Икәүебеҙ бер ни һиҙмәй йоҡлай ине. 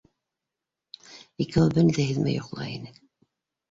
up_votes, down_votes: 1, 2